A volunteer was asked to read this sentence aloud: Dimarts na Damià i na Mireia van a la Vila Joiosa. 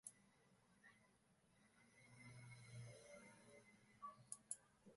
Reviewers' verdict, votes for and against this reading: rejected, 2, 4